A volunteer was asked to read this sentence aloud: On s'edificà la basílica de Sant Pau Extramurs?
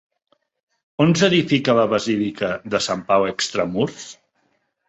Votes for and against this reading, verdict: 0, 3, rejected